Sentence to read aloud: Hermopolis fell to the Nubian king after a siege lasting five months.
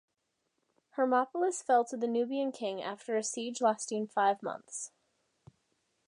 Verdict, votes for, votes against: accepted, 3, 0